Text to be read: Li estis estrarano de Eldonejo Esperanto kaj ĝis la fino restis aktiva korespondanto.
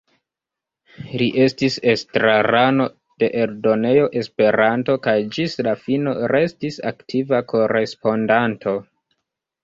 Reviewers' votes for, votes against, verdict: 1, 2, rejected